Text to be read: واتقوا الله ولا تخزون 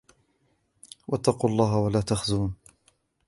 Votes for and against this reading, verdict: 0, 2, rejected